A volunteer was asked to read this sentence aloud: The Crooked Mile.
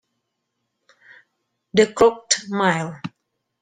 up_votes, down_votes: 2, 1